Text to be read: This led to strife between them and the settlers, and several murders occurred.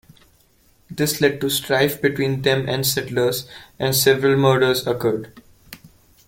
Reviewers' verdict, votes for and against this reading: rejected, 0, 2